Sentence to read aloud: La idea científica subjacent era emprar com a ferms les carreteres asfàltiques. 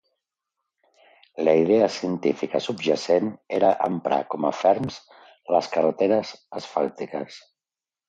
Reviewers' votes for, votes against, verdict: 2, 0, accepted